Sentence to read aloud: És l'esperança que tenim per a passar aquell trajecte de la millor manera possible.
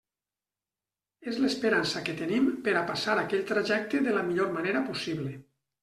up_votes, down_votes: 3, 0